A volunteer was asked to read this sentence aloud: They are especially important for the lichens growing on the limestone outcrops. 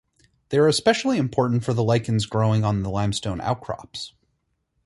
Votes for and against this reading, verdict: 0, 4, rejected